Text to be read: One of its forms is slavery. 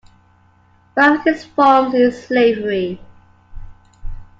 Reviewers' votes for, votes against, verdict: 2, 0, accepted